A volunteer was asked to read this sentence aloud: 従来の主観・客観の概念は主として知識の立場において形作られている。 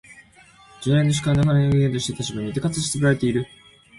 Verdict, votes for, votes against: rejected, 1, 2